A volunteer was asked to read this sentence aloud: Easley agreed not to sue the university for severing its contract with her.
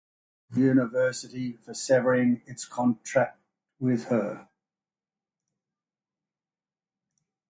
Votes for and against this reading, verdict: 0, 2, rejected